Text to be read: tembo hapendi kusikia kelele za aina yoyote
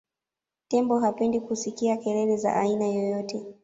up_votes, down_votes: 2, 1